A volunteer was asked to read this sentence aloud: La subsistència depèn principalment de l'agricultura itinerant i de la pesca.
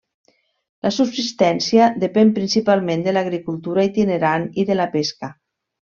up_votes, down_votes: 2, 0